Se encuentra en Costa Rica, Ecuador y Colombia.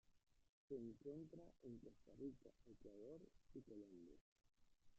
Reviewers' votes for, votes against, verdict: 0, 2, rejected